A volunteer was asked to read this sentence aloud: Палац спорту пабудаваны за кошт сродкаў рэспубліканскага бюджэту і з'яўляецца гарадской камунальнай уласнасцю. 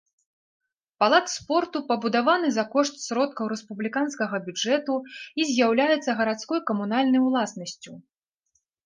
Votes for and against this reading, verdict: 2, 0, accepted